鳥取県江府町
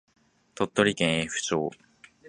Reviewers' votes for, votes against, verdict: 2, 0, accepted